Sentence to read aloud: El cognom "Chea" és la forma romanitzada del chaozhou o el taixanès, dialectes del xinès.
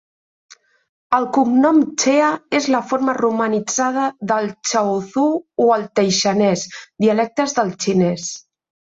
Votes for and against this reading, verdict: 2, 0, accepted